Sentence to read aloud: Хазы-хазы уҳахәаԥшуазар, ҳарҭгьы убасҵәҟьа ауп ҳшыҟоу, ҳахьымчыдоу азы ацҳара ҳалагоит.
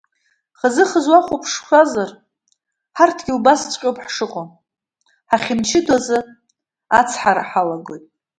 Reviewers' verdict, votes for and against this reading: accepted, 2, 0